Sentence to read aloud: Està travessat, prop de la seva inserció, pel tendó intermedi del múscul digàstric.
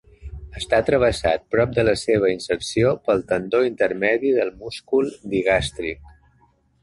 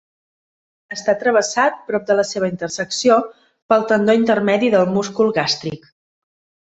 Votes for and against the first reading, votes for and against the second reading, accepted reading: 2, 0, 1, 2, first